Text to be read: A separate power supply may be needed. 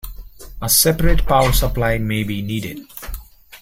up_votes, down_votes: 2, 0